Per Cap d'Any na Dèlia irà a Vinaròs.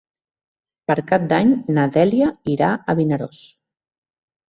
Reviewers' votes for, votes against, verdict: 3, 0, accepted